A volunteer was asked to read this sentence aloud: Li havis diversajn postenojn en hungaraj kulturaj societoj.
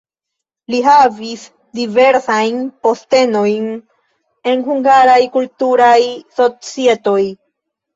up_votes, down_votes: 0, 2